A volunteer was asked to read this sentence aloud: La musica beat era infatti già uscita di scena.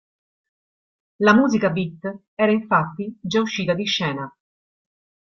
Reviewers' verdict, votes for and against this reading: accepted, 2, 0